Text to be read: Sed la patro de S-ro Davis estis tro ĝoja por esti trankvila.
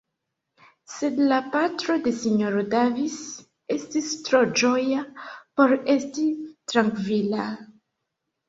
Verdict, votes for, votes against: accepted, 3, 0